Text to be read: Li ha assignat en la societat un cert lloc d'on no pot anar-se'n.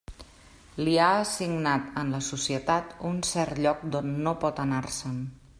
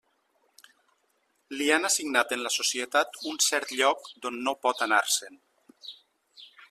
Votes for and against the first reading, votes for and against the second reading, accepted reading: 3, 0, 0, 2, first